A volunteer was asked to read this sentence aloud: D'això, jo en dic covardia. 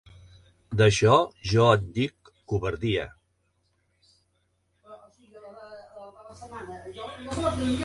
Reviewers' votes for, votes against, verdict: 0, 3, rejected